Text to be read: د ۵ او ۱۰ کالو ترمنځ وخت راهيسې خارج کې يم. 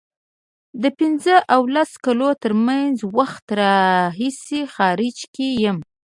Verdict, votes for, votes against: rejected, 0, 2